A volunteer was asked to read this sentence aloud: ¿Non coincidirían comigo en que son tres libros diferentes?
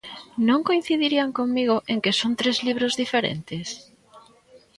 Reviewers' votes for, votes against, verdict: 1, 2, rejected